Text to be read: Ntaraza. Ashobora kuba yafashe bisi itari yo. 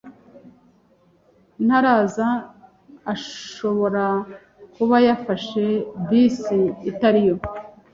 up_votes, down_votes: 2, 1